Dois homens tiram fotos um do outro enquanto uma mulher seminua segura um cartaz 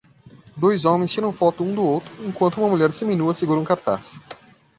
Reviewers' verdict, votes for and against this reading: rejected, 0, 2